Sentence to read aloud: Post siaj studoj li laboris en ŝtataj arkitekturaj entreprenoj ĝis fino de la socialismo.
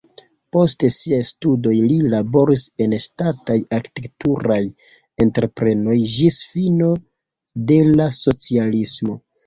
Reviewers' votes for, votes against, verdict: 0, 2, rejected